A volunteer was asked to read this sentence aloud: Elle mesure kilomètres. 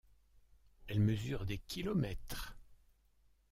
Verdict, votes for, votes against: rejected, 1, 3